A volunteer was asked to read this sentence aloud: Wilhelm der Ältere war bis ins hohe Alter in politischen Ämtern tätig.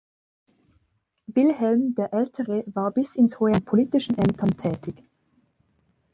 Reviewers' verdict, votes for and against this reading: rejected, 0, 2